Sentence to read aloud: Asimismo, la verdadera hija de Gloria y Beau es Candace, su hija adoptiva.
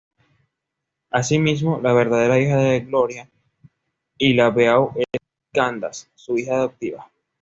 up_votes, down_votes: 1, 2